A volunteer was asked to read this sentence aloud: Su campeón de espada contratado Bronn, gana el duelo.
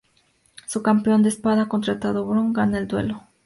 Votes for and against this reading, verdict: 2, 0, accepted